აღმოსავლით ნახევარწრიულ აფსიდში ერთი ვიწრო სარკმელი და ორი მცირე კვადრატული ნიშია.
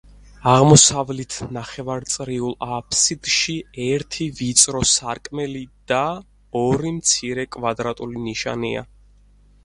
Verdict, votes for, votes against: rejected, 0, 4